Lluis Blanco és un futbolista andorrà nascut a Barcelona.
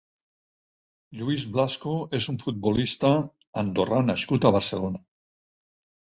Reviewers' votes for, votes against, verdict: 2, 6, rejected